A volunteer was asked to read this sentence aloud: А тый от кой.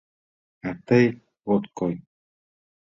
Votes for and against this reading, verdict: 2, 0, accepted